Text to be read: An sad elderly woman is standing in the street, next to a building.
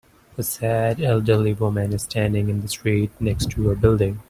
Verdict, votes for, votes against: rejected, 1, 2